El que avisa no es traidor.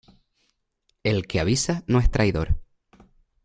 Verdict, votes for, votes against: accepted, 2, 1